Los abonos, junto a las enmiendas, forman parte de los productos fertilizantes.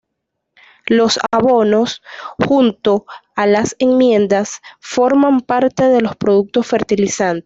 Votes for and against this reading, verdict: 0, 2, rejected